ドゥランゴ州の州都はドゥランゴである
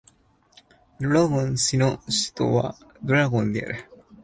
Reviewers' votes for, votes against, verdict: 2, 3, rejected